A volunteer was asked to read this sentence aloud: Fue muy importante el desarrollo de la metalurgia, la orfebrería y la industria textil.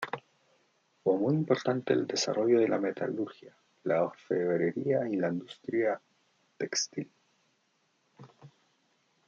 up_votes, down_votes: 1, 2